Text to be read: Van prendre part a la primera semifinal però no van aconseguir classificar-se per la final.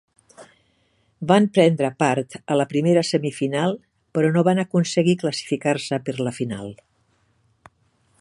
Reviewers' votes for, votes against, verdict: 4, 0, accepted